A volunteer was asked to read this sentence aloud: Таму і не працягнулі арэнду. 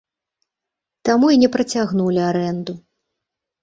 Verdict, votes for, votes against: accepted, 2, 0